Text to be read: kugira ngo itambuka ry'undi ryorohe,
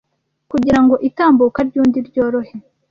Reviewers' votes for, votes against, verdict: 2, 0, accepted